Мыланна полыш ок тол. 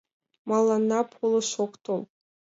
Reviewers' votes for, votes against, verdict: 2, 0, accepted